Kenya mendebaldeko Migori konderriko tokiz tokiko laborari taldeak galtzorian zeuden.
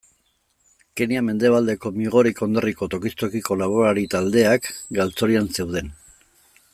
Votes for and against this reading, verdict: 1, 2, rejected